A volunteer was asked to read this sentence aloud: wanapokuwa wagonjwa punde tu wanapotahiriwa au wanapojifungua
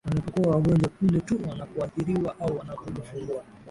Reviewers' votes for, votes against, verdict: 1, 2, rejected